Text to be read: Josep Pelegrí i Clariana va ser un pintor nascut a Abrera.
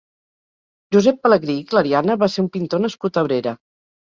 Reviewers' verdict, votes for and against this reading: accepted, 4, 0